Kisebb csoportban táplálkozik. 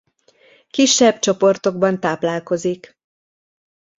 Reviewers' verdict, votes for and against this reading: accepted, 2, 1